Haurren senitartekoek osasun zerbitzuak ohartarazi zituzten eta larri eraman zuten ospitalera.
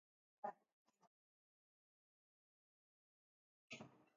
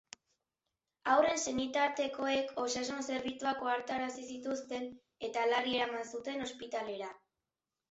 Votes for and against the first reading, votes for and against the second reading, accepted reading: 0, 3, 4, 0, second